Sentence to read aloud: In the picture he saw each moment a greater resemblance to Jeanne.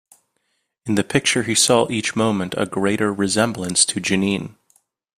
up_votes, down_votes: 0, 2